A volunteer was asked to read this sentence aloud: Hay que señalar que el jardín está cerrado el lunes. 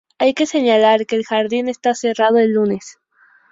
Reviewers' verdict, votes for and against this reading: accepted, 2, 0